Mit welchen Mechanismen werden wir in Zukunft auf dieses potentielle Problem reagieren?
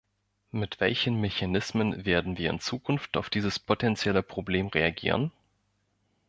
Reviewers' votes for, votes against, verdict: 2, 0, accepted